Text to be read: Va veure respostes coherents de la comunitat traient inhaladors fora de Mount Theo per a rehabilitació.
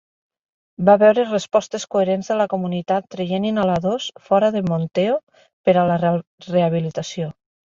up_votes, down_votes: 0, 2